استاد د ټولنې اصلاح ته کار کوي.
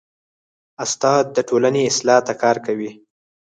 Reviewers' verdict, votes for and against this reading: rejected, 0, 4